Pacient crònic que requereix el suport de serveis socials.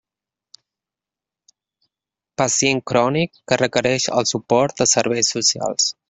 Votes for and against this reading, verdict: 2, 0, accepted